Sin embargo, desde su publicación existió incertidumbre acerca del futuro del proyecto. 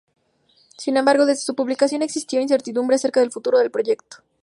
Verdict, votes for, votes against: accepted, 2, 0